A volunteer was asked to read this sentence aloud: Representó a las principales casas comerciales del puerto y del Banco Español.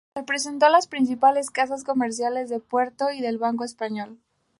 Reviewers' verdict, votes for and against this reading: accepted, 2, 0